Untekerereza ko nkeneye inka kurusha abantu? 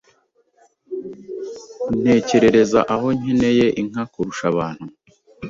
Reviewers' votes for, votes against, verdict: 1, 2, rejected